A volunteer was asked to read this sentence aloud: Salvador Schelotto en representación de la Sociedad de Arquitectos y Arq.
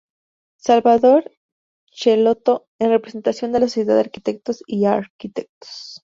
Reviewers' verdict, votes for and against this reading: accepted, 2, 0